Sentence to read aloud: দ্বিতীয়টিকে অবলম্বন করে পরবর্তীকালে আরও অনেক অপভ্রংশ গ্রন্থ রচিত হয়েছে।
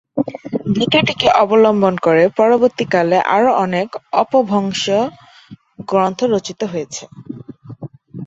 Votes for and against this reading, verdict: 0, 2, rejected